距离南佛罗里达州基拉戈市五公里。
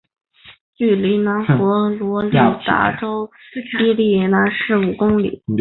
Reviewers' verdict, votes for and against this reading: rejected, 2, 4